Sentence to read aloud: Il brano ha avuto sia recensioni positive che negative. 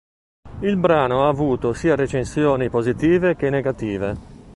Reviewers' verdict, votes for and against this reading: accepted, 3, 0